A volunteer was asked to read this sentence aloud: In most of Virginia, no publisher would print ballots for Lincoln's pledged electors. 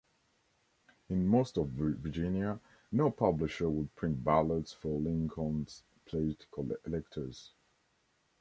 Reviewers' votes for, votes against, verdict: 2, 1, accepted